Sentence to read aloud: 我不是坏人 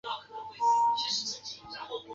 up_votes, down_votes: 0, 2